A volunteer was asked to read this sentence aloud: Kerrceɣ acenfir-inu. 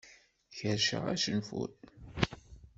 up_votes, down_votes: 0, 2